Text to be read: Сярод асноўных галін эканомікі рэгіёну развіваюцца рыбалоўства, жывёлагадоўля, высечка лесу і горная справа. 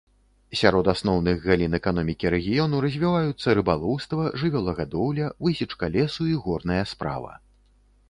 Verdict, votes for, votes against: accepted, 3, 0